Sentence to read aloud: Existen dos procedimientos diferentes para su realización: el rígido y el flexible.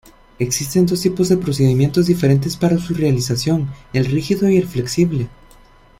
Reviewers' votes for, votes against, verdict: 0, 2, rejected